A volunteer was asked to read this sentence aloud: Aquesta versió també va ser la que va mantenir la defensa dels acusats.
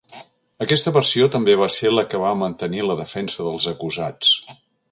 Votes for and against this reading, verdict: 2, 0, accepted